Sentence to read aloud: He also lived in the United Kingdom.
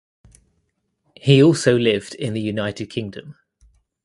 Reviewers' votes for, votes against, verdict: 2, 0, accepted